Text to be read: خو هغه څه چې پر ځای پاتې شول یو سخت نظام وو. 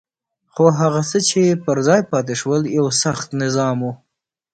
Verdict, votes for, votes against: accepted, 2, 0